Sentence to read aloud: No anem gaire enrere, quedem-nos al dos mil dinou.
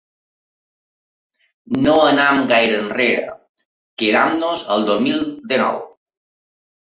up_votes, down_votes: 0, 2